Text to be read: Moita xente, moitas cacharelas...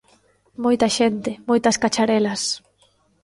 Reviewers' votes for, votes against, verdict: 3, 0, accepted